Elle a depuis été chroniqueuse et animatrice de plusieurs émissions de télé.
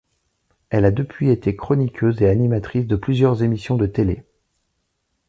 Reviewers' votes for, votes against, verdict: 2, 0, accepted